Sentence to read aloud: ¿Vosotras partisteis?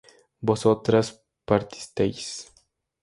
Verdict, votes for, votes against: rejected, 0, 2